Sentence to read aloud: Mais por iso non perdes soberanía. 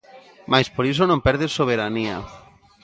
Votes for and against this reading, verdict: 2, 0, accepted